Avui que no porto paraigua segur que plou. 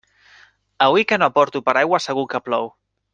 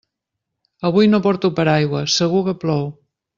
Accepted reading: first